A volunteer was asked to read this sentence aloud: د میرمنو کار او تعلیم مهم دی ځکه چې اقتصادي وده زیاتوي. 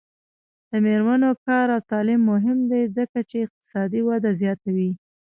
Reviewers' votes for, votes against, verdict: 2, 0, accepted